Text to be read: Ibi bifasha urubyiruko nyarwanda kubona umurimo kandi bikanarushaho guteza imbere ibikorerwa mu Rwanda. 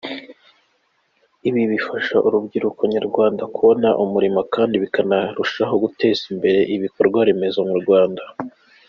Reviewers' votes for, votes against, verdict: 2, 0, accepted